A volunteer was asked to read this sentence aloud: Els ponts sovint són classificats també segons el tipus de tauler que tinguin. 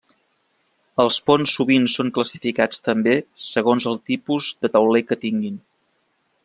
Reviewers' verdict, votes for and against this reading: accepted, 3, 0